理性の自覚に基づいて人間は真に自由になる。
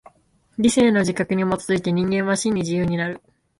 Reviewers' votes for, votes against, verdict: 2, 0, accepted